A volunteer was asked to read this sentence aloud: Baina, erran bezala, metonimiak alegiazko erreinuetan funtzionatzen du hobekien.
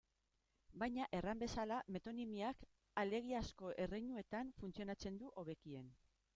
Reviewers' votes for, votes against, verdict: 2, 0, accepted